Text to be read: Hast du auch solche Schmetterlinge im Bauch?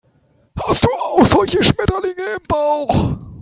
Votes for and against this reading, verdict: 0, 2, rejected